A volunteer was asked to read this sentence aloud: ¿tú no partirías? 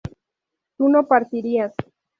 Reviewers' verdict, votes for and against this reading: rejected, 0, 2